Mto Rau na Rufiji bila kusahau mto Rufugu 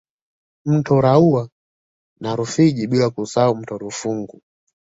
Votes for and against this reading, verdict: 1, 2, rejected